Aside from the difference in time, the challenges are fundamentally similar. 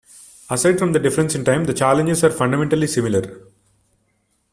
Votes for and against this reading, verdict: 0, 2, rejected